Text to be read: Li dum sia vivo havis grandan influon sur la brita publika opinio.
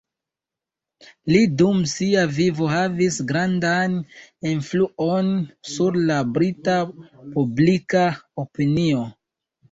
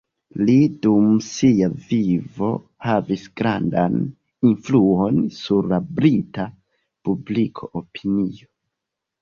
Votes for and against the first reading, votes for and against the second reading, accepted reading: 2, 0, 1, 2, first